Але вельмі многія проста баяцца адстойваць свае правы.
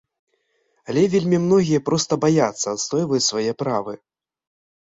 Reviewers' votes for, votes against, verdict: 1, 2, rejected